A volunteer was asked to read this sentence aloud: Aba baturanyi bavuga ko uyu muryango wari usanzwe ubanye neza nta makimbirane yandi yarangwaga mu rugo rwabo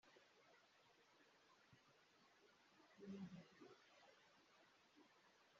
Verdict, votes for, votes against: rejected, 0, 2